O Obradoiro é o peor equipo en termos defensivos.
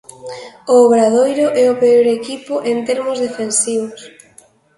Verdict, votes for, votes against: rejected, 1, 2